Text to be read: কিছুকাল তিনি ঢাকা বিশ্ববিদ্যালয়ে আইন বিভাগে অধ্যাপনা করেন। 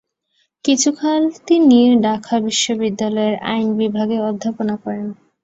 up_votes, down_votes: 0, 2